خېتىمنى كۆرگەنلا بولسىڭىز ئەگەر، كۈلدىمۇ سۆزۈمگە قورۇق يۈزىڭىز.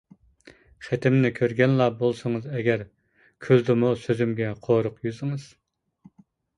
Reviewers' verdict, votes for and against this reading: accepted, 2, 1